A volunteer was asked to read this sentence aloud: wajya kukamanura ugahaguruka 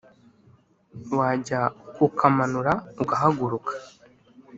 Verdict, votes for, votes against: accepted, 2, 0